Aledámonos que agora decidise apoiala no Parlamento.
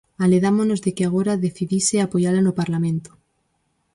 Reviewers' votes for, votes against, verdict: 2, 2, rejected